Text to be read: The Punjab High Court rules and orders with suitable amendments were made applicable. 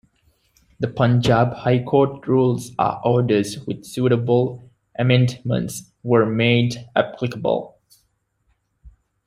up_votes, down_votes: 1, 2